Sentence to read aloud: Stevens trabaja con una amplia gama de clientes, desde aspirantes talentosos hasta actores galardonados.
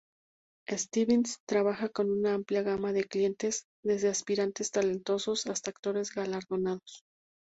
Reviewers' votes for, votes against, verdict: 2, 0, accepted